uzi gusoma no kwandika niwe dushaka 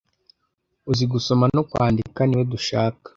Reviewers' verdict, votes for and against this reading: accepted, 2, 0